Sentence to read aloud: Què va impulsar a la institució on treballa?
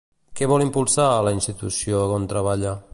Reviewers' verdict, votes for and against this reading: rejected, 1, 2